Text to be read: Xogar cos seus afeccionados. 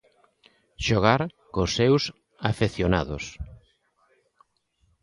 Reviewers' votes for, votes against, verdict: 2, 1, accepted